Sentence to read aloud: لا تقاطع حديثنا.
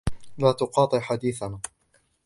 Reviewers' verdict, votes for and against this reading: accepted, 2, 0